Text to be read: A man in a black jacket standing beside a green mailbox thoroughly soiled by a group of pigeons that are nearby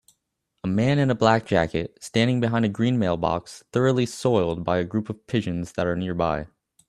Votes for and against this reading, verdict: 0, 2, rejected